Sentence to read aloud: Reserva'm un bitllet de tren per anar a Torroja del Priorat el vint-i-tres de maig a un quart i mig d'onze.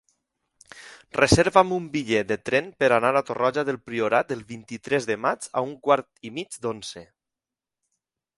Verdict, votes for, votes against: rejected, 0, 2